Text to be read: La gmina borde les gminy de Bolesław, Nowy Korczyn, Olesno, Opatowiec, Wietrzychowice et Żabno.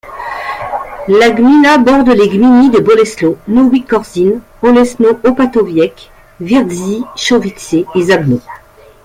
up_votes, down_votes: 2, 0